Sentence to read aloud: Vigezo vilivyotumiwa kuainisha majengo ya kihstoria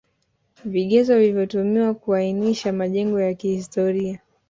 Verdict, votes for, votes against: rejected, 1, 2